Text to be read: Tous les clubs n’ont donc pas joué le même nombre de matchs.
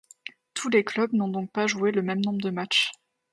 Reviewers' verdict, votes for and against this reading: accepted, 2, 0